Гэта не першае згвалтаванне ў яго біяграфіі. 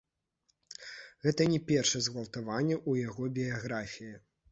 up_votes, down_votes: 1, 2